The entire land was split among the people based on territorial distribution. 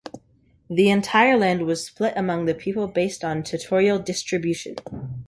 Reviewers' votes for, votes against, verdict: 1, 2, rejected